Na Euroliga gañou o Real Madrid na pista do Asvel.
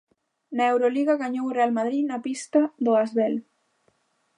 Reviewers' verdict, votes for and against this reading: accepted, 2, 0